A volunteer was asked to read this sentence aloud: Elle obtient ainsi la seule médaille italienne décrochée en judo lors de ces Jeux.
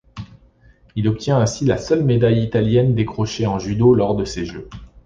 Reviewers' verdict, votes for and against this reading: rejected, 1, 2